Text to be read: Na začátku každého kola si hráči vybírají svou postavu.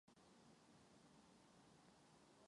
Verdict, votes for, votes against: rejected, 0, 2